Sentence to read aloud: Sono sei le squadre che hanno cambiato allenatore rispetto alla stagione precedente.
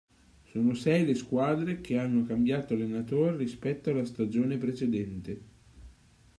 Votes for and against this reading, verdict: 2, 0, accepted